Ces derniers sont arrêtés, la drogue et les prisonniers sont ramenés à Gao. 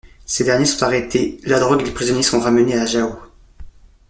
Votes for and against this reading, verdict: 1, 2, rejected